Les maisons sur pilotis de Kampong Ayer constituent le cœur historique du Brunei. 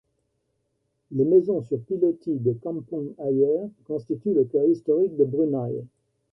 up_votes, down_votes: 3, 0